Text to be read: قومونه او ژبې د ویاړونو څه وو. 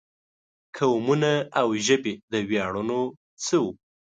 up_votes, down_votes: 2, 0